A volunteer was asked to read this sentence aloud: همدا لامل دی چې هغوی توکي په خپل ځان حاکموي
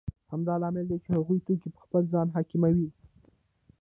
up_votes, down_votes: 2, 0